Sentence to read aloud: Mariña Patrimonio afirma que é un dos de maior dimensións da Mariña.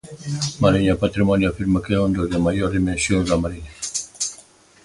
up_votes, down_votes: 1, 2